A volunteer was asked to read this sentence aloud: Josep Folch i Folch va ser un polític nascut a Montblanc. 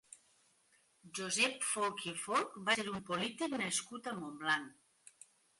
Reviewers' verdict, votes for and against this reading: rejected, 1, 2